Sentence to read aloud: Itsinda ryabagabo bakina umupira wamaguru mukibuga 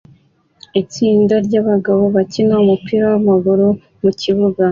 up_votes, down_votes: 2, 0